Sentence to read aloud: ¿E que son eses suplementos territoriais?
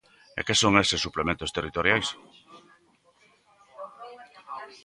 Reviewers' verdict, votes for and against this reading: rejected, 1, 2